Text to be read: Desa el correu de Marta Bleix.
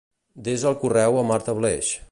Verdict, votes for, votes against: rejected, 1, 2